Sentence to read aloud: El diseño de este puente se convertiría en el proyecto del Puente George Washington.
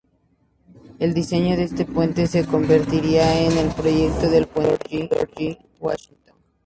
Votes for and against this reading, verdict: 2, 0, accepted